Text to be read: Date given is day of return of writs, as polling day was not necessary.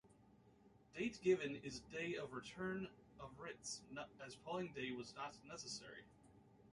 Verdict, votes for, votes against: rejected, 0, 2